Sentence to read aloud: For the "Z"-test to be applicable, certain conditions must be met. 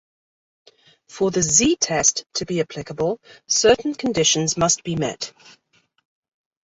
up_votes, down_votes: 2, 0